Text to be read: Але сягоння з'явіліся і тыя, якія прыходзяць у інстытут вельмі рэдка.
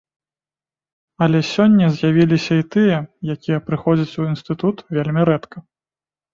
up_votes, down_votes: 1, 2